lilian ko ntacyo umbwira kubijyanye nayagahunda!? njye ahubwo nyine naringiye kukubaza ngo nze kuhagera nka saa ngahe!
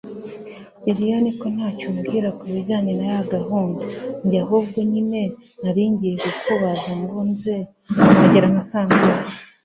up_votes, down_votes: 2, 0